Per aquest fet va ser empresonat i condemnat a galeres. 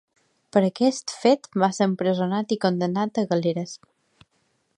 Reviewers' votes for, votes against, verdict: 3, 0, accepted